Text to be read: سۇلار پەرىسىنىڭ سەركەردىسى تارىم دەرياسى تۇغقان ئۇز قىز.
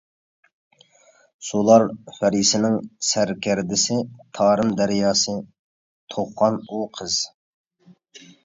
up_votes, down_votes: 0, 2